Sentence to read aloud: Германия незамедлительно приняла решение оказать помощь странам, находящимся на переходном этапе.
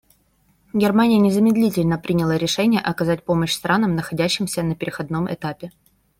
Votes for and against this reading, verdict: 0, 2, rejected